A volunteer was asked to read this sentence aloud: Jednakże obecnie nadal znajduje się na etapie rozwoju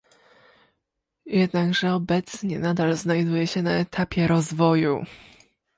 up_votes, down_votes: 2, 0